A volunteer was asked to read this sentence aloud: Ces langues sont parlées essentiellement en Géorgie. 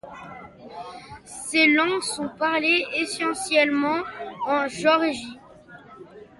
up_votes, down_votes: 0, 2